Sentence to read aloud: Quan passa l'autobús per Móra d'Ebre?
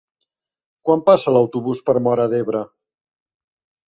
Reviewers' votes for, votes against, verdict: 0, 2, rejected